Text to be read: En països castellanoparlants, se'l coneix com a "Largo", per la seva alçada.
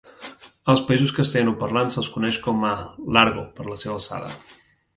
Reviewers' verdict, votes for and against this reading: rejected, 0, 2